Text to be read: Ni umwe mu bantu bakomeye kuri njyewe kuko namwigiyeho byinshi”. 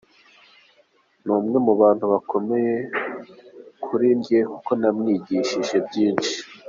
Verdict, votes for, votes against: rejected, 1, 2